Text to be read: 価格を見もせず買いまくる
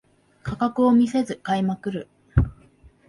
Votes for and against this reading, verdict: 0, 4, rejected